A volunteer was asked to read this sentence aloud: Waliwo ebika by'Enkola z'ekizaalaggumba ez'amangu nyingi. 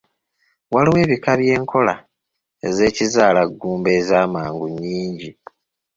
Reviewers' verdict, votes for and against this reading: accepted, 2, 1